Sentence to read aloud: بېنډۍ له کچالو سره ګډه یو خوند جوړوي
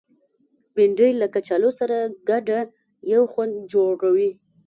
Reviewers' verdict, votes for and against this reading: rejected, 1, 2